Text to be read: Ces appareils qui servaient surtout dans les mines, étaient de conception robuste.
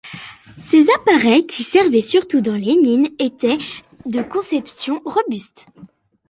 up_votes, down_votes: 2, 0